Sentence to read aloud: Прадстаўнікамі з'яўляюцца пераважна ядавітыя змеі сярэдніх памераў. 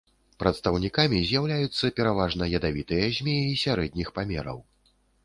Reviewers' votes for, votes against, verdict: 2, 0, accepted